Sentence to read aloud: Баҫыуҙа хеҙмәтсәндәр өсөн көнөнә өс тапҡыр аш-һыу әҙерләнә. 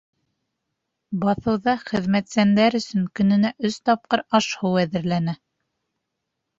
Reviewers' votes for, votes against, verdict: 2, 0, accepted